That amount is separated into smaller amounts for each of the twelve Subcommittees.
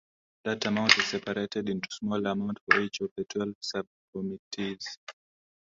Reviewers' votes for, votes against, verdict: 2, 0, accepted